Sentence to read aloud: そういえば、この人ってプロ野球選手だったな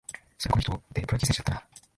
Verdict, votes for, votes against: accepted, 3, 2